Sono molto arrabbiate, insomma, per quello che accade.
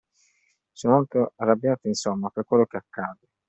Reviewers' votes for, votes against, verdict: 2, 0, accepted